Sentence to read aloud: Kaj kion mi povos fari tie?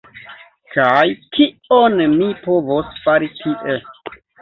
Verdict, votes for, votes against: rejected, 0, 2